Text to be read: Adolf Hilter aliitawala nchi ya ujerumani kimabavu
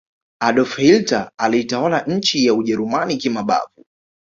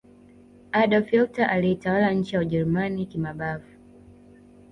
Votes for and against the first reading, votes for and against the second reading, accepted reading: 2, 1, 1, 2, first